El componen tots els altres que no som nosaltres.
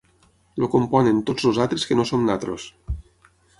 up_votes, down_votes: 0, 6